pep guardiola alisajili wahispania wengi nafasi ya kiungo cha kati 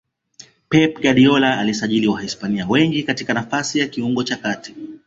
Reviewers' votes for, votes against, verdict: 2, 0, accepted